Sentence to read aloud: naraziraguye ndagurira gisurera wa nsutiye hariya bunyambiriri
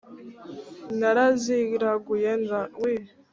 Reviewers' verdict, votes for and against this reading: rejected, 0, 2